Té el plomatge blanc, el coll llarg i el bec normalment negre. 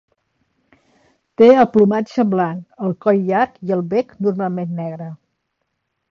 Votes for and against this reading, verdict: 3, 0, accepted